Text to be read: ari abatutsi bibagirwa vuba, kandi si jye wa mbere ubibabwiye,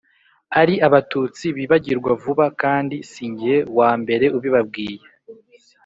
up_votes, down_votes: 3, 0